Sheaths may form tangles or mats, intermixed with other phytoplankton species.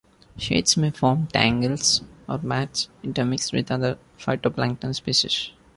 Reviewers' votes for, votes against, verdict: 2, 0, accepted